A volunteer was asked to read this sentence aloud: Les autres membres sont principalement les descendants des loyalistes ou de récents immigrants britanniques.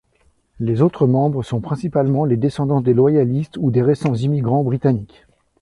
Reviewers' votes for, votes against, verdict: 0, 2, rejected